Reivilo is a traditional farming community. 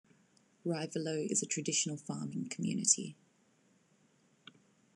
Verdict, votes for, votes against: accepted, 2, 1